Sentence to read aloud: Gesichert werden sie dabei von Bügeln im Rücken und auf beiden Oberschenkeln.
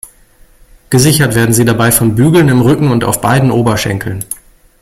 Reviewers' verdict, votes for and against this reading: accepted, 2, 0